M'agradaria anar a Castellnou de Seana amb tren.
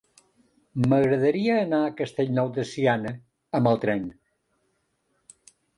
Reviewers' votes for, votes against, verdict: 0, 2, rejected